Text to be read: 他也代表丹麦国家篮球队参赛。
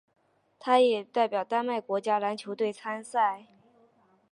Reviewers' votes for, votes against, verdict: 7, 0, accepted